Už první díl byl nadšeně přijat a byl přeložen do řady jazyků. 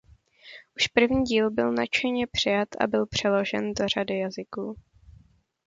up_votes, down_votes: 2, 0